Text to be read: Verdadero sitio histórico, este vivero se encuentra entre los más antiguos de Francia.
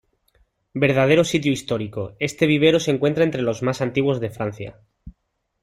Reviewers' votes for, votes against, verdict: 2, 0, accepted